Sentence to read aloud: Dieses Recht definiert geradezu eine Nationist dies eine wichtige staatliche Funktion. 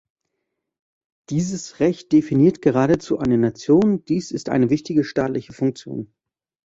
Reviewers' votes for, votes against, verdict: 0, 2, rejected